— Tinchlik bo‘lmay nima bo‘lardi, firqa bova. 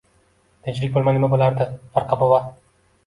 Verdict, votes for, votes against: rejected, 0, 2